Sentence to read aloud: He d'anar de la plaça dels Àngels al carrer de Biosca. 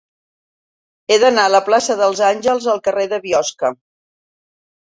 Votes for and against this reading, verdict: 2, 0, accepted